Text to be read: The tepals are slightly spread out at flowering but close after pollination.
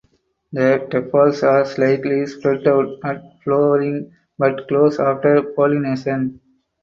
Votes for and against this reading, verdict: 2, 4, rejected